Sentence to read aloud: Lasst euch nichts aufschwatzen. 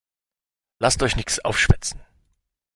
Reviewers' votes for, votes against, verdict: 1, 4, rejected